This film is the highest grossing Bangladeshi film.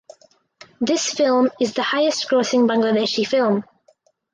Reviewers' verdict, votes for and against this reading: accepted, 4, 0